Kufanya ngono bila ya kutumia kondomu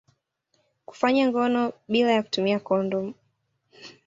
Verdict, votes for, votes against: accepted, 2, 0